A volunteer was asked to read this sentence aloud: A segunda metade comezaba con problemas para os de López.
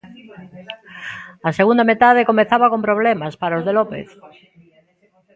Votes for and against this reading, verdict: 0, 2, rejected